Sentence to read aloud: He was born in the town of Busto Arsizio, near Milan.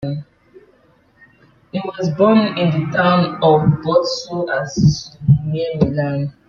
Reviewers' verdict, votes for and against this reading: rejected, 0, 2